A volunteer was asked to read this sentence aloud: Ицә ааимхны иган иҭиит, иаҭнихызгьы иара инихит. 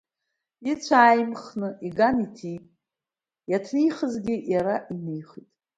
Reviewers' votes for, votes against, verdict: 2, 0, accepted